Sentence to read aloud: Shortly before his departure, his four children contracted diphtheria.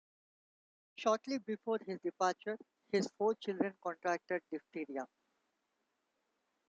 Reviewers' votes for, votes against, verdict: 1, 2, rejected